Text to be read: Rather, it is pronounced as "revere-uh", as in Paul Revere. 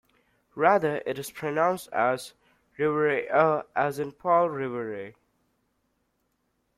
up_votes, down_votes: 0, 2